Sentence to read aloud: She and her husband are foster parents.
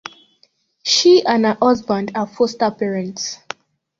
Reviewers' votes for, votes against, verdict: 2, 1, accepted